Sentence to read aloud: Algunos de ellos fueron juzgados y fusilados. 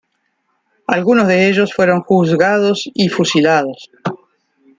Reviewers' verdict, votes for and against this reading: accepted, 2, 0